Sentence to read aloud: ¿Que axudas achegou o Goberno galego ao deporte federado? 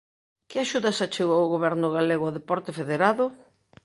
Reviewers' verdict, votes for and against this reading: accepted, 2, 0